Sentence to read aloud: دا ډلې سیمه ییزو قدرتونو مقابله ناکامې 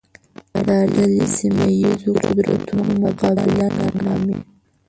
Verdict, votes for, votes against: rejected, 0, 2